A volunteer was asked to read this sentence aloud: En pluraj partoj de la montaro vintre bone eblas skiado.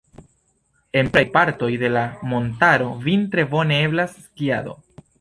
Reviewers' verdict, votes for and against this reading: rejected, 1, 3